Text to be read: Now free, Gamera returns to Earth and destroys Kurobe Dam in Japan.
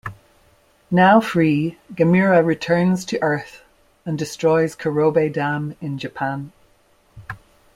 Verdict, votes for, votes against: accepted, 2, 0